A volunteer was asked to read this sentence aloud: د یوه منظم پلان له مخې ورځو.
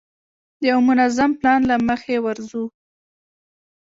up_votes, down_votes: 2, 3